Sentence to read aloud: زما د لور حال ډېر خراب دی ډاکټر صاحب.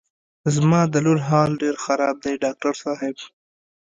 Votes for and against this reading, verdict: 2, 0, accepted